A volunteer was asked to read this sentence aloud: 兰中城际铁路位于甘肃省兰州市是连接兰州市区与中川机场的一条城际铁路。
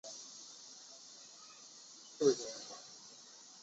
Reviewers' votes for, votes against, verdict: 1, 4, rejected